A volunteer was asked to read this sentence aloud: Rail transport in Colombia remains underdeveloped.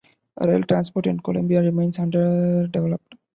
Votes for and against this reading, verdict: 0, 2, rejected